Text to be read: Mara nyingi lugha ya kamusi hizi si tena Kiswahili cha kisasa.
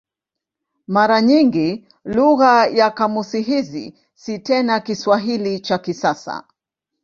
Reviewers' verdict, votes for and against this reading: accepted, 2, 0